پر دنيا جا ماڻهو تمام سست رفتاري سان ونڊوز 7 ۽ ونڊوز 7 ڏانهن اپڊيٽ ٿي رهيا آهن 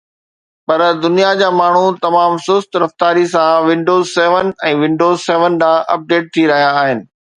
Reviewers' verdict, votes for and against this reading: rejected, 0, 2